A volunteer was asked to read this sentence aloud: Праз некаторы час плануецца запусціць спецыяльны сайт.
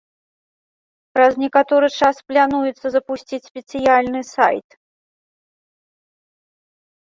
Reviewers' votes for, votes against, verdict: 1, 2, rejected